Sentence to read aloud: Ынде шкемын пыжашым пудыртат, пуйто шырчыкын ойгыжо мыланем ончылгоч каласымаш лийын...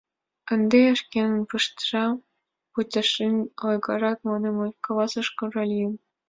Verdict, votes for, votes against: rejected, 1, 4